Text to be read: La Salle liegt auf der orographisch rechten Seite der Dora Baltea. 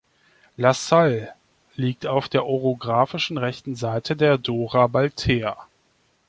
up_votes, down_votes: 1, 2